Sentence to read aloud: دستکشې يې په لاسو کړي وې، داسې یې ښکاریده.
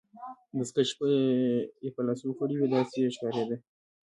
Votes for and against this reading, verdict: 2, 0, accepted